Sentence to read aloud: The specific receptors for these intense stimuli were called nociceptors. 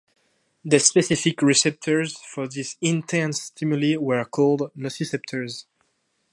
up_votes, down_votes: 2, 0